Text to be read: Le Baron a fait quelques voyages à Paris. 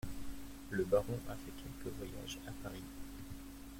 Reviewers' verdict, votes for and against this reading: rejected, 1, 2